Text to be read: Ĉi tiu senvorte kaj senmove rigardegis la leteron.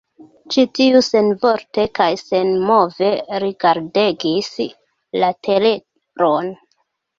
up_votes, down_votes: 1, 2